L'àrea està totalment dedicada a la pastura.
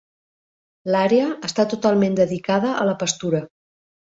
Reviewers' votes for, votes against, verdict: 3, 0, accepted